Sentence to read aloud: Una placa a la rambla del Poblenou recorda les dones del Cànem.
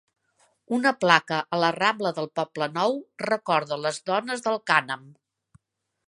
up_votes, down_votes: 2, 0